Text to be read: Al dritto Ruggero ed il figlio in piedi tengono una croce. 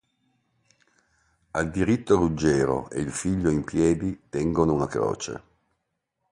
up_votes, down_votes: 1, 2